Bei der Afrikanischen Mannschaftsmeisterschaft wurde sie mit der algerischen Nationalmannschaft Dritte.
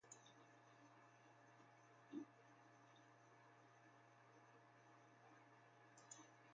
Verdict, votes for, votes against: rejected, 0, 2